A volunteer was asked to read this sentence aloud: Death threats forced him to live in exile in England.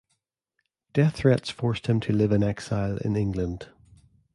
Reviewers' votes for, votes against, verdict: 2, 0, accepted